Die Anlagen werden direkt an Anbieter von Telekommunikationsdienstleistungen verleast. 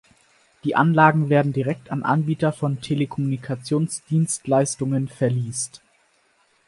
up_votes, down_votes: 4, 0